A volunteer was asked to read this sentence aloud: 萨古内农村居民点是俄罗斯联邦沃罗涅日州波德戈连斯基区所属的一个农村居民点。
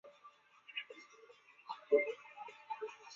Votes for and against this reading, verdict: 0, 2, rejected